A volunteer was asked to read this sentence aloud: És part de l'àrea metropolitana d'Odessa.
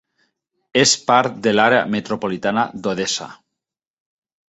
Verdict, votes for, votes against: rejected, 0, 2